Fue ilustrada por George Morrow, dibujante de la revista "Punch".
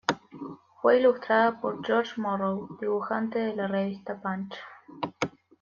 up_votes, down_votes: 2, 0